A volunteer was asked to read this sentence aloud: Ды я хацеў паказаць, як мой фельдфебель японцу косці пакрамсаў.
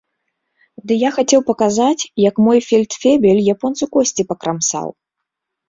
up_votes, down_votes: 2, 0